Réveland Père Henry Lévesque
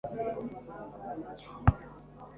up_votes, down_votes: 1, 2